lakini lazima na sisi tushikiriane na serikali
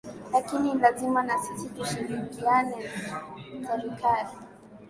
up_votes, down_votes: 0, 2